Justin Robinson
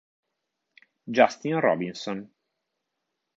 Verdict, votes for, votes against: accepted, 2, 0